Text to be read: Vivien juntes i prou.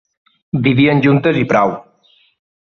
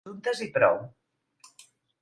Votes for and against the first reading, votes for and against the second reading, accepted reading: 2, 0, 0, 2, first